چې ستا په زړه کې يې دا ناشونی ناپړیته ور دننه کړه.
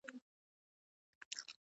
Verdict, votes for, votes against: rejected, 1, 2